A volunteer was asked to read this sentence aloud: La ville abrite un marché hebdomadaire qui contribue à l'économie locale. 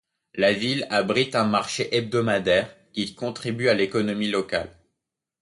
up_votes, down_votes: 2, 0